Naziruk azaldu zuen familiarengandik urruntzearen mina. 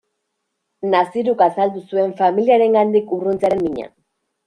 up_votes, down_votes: 2, 0